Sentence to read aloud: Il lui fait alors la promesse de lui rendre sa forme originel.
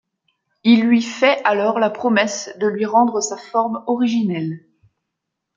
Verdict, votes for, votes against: accepted, 2, 0